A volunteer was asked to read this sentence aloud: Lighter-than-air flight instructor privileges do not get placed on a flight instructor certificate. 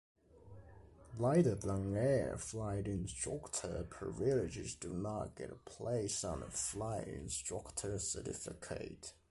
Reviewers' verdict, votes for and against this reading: rejected, 1, 2